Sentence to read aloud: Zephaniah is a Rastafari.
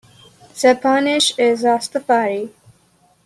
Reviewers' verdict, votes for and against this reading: rejected, 0, 2